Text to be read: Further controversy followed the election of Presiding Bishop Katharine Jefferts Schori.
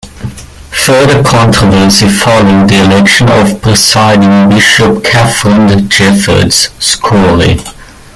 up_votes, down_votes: 2, 0